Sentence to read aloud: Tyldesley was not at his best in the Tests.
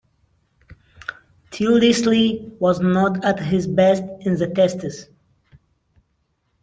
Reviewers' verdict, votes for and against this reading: rejected, 1, 2